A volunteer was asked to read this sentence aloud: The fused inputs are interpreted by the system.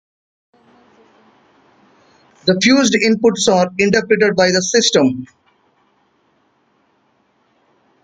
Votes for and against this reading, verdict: 2, 0, accepted